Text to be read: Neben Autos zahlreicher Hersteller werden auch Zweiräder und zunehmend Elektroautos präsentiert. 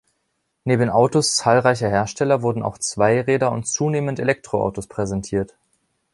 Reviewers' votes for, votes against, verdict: 2, 3, rejected